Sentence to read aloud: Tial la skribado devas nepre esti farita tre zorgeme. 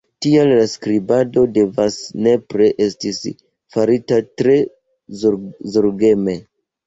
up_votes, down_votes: 1, 2